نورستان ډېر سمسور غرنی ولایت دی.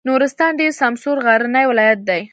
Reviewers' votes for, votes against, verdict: 1, 2, rejected